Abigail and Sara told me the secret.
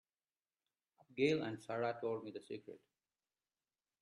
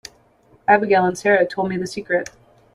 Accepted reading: second